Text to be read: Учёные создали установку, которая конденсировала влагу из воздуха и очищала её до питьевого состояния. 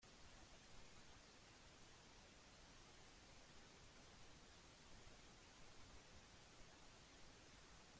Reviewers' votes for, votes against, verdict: 0, 2, rejected